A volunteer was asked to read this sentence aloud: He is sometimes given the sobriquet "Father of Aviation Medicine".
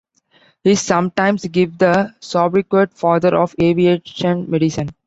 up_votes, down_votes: 0, 2